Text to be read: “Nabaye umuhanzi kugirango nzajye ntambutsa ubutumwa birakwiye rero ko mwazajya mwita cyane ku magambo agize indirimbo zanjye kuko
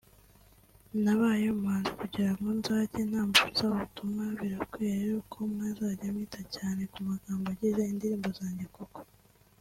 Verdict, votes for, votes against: accepted, 2, 0